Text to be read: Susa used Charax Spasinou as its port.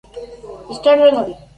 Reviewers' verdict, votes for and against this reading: rejected, 0, 2